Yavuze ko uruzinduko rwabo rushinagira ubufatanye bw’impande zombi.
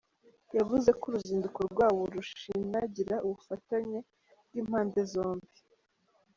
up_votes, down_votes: 2, 3